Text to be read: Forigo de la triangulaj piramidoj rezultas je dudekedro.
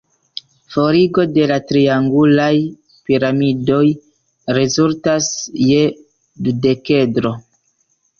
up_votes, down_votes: 1, 2